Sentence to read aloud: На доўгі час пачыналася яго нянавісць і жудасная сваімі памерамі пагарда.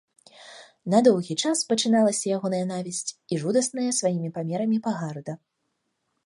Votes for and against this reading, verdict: 2, 3, rejected